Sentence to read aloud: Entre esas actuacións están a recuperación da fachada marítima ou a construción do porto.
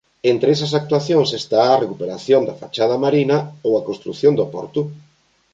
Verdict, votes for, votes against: rejected, 1, 2